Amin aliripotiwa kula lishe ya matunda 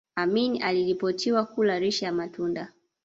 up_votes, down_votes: 1, 2